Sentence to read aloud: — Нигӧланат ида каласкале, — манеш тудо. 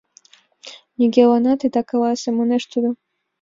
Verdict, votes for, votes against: accepted, 2, 0